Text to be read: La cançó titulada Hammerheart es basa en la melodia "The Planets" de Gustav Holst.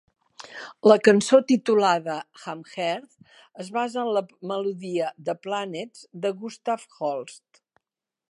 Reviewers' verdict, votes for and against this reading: rejected, 1, 2